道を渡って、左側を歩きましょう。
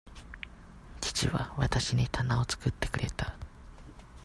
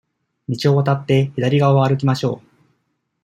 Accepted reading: second